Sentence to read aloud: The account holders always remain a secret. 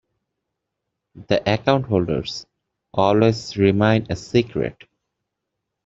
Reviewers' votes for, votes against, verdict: 0, 2, rejected